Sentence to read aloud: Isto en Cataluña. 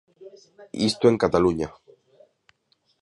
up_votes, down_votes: 2, 1